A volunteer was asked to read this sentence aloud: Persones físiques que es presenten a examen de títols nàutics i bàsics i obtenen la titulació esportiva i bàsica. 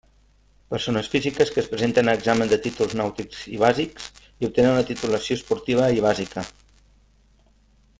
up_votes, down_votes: 2, 0